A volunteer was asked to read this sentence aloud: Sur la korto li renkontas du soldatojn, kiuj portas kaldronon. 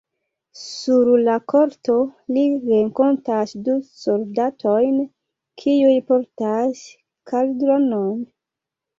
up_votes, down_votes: 2, 0